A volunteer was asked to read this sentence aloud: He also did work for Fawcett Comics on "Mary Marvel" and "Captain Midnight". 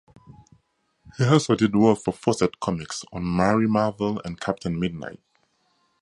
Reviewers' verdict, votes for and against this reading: accepted, 2, 0